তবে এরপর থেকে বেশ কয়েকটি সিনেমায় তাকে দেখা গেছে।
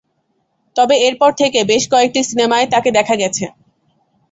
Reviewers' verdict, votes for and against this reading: accepted, 2, 0